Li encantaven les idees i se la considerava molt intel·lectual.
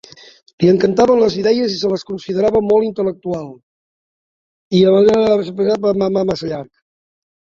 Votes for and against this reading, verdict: 0, 3, rejected